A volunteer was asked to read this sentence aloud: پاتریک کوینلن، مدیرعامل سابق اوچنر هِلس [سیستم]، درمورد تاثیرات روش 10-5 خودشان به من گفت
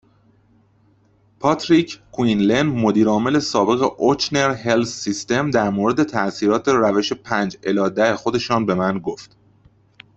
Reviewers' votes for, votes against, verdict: 0, 2, rejected